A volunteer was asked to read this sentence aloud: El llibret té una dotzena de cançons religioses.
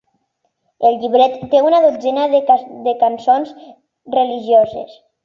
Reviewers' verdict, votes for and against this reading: rejected, 1, 2